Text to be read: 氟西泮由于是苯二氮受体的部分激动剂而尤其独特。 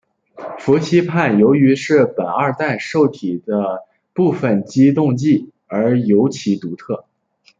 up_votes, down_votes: 2, 0